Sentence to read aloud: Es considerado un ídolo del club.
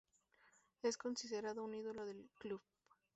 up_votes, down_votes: 2, 0